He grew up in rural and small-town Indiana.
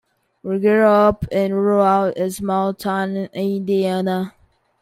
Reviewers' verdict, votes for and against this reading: rejected, 0, 2